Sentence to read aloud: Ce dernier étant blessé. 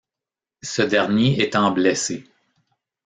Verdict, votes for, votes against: accepted, 2, 0